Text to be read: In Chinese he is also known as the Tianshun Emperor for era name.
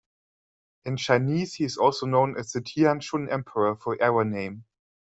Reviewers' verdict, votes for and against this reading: accepted, 2, 0